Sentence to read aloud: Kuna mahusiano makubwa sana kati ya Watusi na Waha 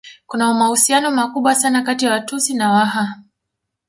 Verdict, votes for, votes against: rejected, 0, 2